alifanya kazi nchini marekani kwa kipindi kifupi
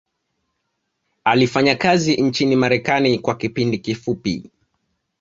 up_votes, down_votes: 2, 0